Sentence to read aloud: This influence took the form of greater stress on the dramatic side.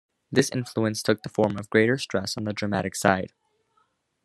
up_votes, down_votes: 2, 0